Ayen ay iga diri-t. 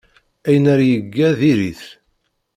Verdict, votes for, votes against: rejected, 1, 2